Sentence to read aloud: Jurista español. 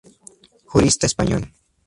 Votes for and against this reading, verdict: 2, 0, accepted